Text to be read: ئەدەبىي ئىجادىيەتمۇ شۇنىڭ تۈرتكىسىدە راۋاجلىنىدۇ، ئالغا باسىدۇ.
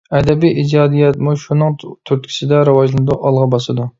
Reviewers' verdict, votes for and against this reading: rejected, 1, 2